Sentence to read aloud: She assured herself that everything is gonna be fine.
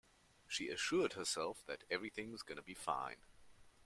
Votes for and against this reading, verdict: 2, 1, accepted